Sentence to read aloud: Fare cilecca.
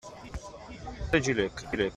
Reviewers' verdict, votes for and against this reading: rejected, 0, 2